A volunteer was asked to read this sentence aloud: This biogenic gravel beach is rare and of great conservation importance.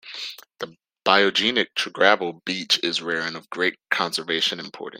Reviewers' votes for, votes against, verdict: 1, 2, rejected